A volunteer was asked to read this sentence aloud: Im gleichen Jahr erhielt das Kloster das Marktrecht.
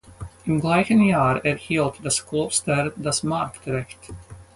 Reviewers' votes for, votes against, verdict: 4, 0, accepted